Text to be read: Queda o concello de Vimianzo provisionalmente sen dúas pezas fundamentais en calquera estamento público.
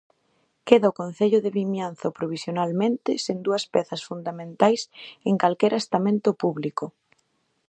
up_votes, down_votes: 2, 0